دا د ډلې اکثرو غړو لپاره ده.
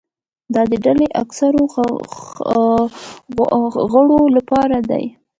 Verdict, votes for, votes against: rejected, 0, 2